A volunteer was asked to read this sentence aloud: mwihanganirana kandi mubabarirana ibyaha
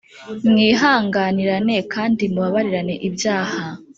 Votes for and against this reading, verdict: 0, 3, rejected